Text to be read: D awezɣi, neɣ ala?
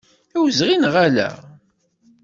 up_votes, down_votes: 2, 0